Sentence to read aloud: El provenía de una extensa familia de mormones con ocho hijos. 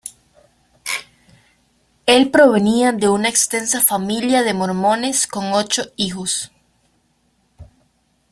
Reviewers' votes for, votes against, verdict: 2, 1, accepted